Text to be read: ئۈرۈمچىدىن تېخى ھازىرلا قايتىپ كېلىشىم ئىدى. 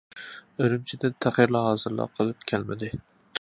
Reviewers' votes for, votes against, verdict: 1, 2, rejected